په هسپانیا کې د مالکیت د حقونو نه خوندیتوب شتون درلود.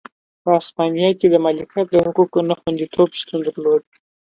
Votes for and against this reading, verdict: 2, 0, accepted